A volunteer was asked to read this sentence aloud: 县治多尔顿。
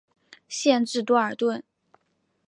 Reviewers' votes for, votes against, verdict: 2, 0, accepted